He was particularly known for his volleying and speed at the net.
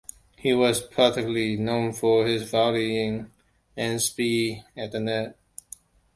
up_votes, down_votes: 1, 2